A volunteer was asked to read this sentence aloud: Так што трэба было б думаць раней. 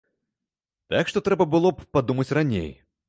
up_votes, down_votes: 1, 2